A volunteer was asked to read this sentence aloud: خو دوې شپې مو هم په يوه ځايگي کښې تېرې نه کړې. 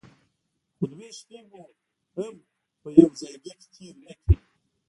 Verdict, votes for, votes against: rejected, 1, 2